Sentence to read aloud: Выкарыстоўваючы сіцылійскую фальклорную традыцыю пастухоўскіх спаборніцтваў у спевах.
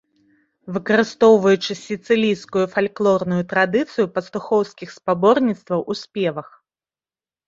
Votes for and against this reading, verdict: 2, 0, accepted